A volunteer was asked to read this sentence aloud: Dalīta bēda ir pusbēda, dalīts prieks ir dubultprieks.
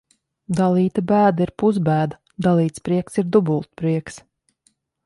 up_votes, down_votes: 3, 0